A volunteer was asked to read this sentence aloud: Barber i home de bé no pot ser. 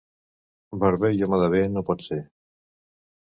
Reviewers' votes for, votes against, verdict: 2, 0, accepted